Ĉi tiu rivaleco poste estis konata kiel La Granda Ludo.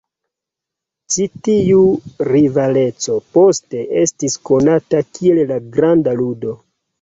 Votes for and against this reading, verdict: 1, 2, rejected